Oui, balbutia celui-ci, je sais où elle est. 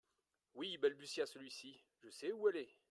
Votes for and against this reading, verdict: 2, 0, accepted